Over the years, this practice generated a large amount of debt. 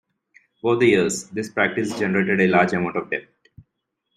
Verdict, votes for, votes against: accepted, 2, 0